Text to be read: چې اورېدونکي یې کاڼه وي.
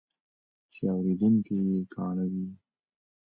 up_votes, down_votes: 2, 1